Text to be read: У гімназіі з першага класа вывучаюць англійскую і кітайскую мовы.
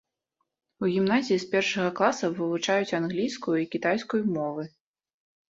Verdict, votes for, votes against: accepted, 2, 0